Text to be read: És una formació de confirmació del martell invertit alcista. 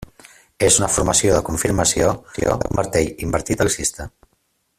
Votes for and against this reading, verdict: 0, 2, rejected